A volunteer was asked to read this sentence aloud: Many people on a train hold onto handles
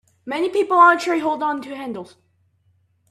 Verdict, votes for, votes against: accepted, 2, 0